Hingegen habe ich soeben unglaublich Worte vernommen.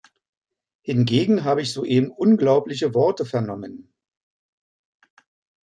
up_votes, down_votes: 2, 0